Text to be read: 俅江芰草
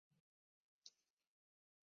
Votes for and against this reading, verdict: 0, 3, rejected